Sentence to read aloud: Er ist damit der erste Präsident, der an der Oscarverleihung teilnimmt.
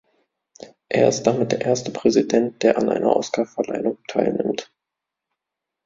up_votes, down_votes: 0, 3